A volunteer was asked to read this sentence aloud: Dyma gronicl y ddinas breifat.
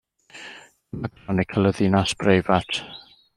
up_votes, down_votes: 1, 2